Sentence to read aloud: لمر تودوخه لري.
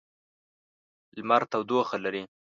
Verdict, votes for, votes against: accepted, 2, 0